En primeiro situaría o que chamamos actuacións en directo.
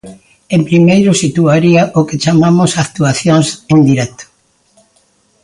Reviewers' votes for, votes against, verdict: 2, 0, accepted